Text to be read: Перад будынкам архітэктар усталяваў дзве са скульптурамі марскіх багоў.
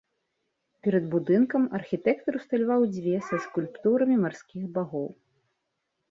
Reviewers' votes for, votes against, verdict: 2, 0, accepted